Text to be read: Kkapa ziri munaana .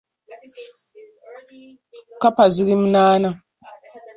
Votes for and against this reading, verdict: 2, 0, accepted